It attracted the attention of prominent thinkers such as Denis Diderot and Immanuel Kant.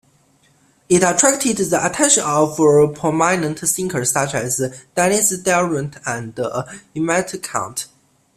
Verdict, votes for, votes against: rejected, 1, 2